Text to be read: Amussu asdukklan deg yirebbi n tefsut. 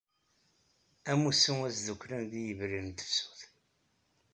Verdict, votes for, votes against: rejected, 0, 2